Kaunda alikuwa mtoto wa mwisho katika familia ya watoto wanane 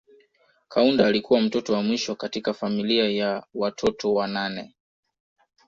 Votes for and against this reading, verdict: 2, 0, accepted